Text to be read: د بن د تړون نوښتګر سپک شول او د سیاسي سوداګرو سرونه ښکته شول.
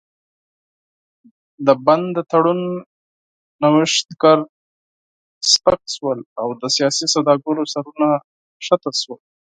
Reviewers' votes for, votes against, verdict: 0, 4, rejected